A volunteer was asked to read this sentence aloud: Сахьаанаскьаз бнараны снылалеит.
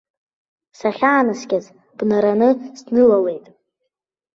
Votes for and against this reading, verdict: 2, 0, accepted